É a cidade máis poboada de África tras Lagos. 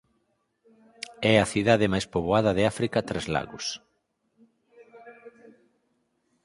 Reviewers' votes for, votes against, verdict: 4, 0, accepted